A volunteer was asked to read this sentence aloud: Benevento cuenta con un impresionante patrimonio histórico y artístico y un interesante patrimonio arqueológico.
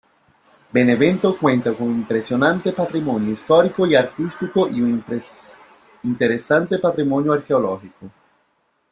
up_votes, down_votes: 0, 2